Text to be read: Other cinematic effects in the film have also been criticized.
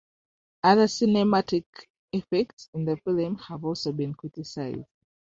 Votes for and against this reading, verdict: 0, 2, rejected